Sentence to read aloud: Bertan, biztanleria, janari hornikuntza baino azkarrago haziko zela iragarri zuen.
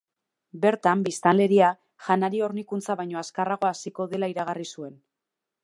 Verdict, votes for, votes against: rejected, 1, 2